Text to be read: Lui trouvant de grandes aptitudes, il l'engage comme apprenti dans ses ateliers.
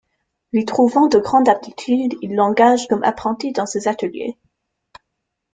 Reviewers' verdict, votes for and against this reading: rejected, 0, 2